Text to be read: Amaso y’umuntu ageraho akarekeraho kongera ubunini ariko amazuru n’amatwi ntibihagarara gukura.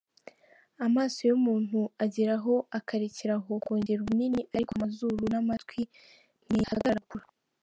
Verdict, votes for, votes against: rejected, 0, 2